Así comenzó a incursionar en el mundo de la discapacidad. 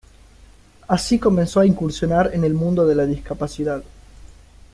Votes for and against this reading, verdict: 2, 0, accepted